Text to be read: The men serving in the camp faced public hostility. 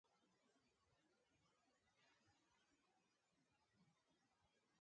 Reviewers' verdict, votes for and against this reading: rejected, 0, 2